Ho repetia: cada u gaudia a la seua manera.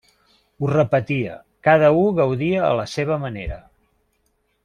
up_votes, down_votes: 0, 2